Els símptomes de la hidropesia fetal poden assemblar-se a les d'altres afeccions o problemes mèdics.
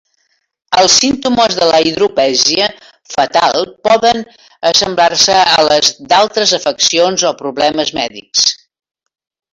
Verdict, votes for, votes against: rejected, 1, 2